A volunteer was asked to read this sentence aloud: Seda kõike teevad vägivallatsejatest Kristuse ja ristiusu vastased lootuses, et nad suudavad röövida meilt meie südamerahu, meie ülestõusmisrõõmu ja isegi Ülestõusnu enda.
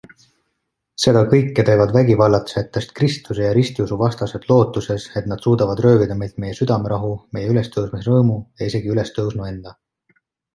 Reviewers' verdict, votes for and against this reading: accepted, 2, 0